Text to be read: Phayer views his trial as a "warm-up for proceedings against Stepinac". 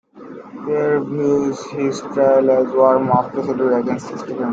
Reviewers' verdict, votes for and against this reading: rejected, 0, 2